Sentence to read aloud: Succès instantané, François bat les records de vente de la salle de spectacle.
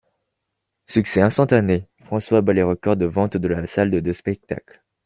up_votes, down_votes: 2, 1